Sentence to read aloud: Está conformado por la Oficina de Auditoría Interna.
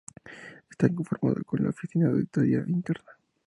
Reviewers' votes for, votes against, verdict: 2, 0, accepted